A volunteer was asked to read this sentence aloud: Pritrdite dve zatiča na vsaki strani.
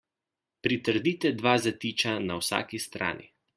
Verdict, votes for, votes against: accepted, 2, 0